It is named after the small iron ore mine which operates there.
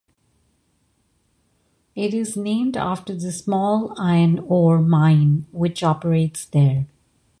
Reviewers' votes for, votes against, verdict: 2, 0, accepted